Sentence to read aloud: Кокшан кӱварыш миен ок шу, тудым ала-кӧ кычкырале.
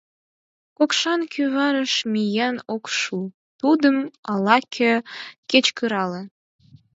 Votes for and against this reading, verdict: 0, 4, rejected